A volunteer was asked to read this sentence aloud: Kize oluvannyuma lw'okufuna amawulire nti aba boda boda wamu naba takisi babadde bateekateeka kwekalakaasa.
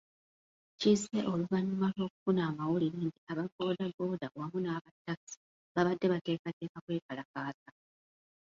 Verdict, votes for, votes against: rejected, 1, 2